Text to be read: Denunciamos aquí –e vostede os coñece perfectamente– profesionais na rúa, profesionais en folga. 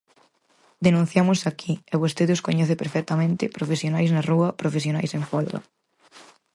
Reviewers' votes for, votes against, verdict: 4, 0, accepted